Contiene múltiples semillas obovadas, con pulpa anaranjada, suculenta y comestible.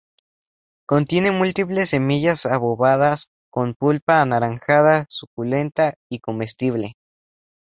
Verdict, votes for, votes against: accepted, 2, 0